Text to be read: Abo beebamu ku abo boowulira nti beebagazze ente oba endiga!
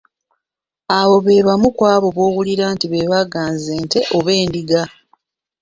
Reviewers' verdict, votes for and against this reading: rejected, 0, 2